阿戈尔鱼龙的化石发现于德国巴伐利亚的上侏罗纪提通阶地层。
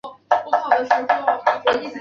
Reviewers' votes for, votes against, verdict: 0, 4, rejected